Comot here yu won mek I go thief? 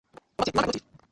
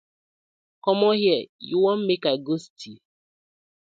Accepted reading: second